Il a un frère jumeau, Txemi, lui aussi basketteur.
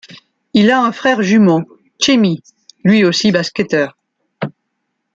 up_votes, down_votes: 2, 0